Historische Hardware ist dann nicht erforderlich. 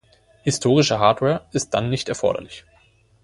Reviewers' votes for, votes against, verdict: 2, 0, accepted